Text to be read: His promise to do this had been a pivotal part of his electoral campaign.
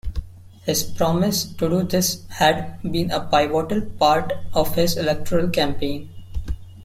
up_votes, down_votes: 0, 2